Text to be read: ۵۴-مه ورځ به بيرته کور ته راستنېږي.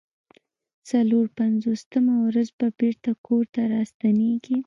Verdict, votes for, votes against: rejected, 0, 2